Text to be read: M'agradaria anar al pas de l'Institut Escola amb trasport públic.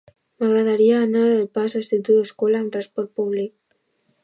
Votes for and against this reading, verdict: 0, 2, rejected